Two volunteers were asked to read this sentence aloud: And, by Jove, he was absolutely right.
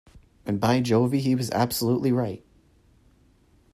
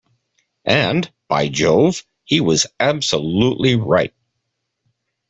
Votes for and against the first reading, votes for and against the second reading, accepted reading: 0, 2, 2, 0, second